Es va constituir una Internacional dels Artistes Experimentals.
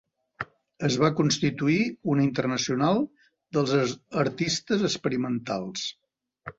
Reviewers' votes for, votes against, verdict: 0, 2, rejected